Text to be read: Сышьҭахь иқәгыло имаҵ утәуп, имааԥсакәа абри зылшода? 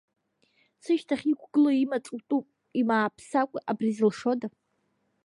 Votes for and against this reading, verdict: 2, 0, accepted